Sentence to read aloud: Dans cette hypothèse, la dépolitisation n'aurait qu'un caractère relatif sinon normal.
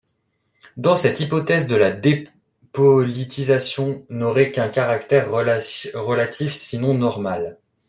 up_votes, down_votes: 0, 2